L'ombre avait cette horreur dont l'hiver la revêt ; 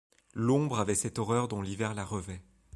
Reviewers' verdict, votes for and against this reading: accepted, 2, 1